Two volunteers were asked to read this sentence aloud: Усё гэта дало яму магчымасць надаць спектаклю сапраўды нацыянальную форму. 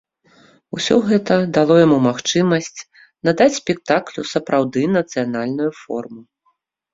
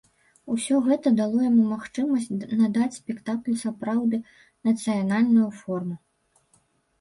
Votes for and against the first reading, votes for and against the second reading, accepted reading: 2, 0, 1, 2, first